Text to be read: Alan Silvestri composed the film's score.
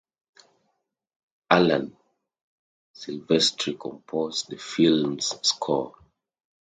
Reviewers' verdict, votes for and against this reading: accepted, 2, 0